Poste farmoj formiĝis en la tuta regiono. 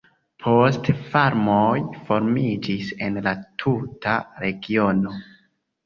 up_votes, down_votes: 2, 0